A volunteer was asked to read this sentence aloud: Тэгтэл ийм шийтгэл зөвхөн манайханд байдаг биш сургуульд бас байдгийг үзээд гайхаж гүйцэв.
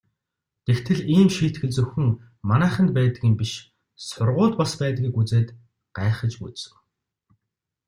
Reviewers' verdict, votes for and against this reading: rejected, 1, 2